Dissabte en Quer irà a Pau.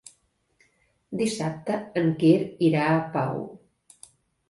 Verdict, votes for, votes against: accepted, 2, 0